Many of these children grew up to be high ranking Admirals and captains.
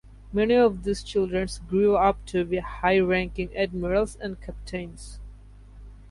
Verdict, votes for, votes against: rejected, 0, 2